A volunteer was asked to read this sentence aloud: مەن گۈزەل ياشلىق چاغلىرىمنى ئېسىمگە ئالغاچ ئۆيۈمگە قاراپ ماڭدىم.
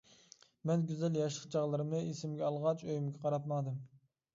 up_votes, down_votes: 2, 0